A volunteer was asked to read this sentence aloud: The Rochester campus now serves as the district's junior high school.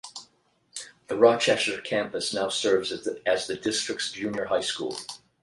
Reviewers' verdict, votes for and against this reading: rejected, 0, 8